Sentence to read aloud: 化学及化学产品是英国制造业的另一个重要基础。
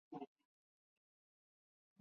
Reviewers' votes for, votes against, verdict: 0, 2, rejected